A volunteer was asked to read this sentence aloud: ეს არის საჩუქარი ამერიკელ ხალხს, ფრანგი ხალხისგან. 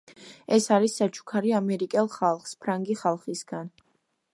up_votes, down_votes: 2, 0